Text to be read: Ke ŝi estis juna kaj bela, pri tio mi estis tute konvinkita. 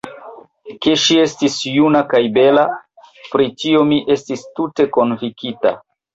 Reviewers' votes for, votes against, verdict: 1, 2, rejected